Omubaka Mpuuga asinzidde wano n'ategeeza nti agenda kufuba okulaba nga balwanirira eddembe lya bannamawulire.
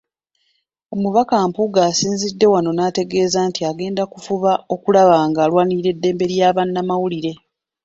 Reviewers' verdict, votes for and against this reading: rejected, 0, 2